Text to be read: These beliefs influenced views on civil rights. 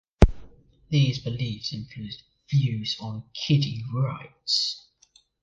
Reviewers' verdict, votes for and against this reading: rejected, 0, 2